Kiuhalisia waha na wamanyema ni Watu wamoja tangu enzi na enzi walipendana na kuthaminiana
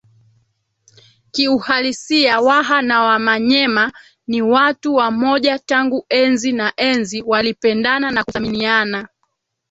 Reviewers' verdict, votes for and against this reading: rejected, 1, 2